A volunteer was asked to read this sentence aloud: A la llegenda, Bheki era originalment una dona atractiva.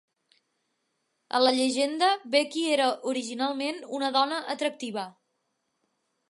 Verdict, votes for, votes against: accepted, 2, 0